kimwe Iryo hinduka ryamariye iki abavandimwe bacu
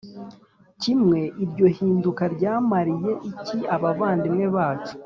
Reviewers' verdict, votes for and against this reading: accepted, 2, 0